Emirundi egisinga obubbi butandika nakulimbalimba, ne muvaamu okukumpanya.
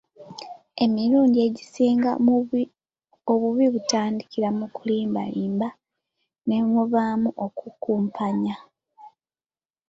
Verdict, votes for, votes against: rejected, 1, 2